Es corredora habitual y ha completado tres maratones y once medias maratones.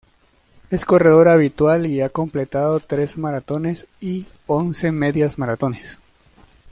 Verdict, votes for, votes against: accepted, 2, 0